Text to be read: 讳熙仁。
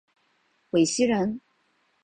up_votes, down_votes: 0, 2